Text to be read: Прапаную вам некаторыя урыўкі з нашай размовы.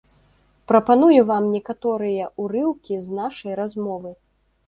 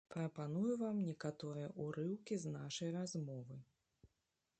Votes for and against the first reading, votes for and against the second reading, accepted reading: 2, 0, 0, 2, first